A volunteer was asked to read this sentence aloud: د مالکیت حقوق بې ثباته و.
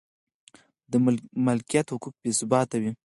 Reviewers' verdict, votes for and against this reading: accepted, 4, 2